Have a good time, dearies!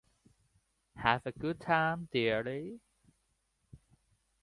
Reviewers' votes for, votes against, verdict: 2, 0, accepted